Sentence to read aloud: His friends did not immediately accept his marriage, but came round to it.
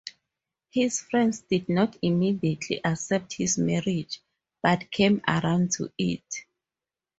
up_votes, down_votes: 0, 2